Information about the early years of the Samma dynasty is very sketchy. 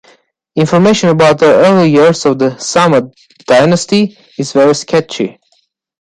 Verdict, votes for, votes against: rejected, 1, 2